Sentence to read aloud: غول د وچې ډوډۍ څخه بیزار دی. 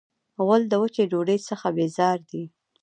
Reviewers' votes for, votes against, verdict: 1, 2, rejected